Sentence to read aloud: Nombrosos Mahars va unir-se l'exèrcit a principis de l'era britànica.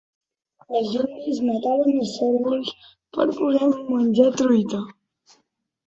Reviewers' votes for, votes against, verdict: 0, 2, rejected